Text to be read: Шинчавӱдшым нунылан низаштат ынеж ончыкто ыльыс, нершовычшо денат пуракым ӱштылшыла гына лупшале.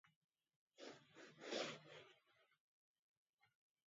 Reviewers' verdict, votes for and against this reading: rejected, 1, 2